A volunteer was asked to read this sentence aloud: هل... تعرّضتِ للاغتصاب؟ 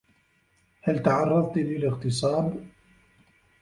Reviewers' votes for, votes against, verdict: 1, 2, rejected